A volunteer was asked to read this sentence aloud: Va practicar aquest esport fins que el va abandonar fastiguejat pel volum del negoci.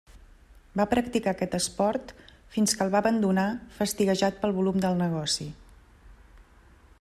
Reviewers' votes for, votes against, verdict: 3, 0, accepted